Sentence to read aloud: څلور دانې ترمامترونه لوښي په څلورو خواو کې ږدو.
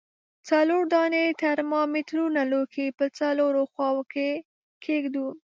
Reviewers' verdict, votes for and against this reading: accepted, 2, 1